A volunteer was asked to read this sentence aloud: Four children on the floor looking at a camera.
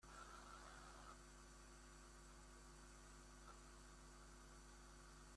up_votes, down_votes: 0, 2